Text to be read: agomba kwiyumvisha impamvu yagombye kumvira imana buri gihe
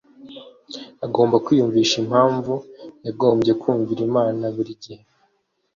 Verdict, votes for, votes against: accepted, 2, 0